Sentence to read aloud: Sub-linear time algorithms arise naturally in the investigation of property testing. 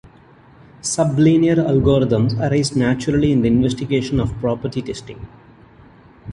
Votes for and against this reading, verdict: 0, 2, rejected